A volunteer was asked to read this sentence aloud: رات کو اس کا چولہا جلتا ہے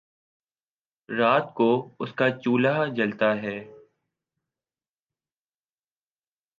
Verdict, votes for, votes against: accepted, 3, 1